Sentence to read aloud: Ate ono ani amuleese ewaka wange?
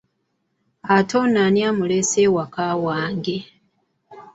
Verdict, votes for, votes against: accepted, 2, 0